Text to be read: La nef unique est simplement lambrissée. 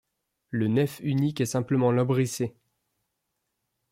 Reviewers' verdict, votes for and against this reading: rejected, 0, 2